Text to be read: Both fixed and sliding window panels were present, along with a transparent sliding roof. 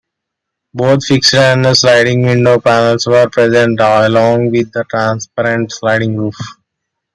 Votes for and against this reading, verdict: 2, 1, accepted